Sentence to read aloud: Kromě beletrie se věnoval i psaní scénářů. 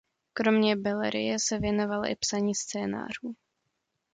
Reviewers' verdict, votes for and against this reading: rejected, 0, 2